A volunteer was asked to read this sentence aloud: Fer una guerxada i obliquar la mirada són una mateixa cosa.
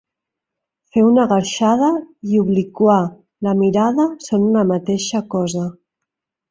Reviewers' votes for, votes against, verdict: 2, 0, accepted